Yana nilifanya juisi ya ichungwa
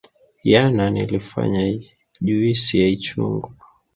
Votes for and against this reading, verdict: 2, 0, accepted